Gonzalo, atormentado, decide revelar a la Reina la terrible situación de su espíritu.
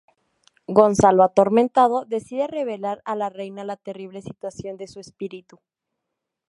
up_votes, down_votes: 2, 0